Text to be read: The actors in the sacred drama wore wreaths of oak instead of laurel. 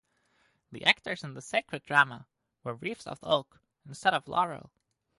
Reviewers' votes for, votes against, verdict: 2, 0, accepted